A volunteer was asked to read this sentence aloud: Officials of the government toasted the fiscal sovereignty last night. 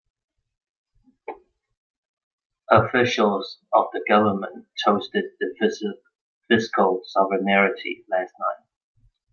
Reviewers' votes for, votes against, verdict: 0, 2, rejected